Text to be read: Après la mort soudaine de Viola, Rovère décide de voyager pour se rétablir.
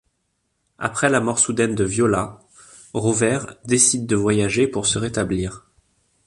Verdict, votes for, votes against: accepted, 2, 0